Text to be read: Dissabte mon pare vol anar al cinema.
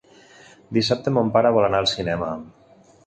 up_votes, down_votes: 4, 0